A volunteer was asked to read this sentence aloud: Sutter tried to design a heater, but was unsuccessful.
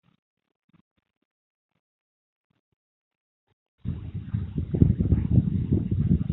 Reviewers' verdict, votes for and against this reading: rejected, 0, 2